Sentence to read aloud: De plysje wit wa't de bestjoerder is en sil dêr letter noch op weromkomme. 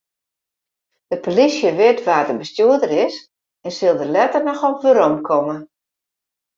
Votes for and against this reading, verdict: 2, 0, accepted